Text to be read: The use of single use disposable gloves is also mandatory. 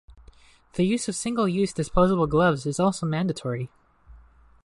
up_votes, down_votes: 2, 0